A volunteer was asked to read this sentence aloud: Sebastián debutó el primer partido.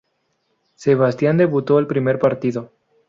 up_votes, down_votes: 2, 0